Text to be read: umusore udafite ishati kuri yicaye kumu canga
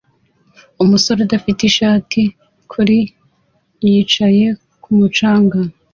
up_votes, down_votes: 2, 0